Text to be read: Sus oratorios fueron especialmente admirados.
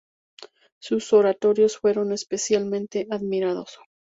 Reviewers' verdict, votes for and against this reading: rejected, 0, 2